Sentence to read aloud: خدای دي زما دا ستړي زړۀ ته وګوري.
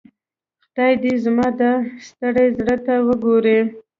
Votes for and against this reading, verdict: 3, 1, accepted